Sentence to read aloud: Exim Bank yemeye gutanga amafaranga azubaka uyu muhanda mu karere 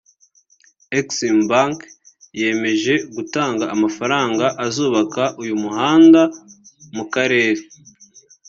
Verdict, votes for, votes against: rejected, 1, 3